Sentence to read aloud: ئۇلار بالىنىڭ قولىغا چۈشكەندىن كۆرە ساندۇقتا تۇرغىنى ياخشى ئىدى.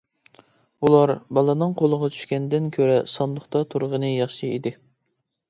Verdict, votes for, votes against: accepted, 2, 0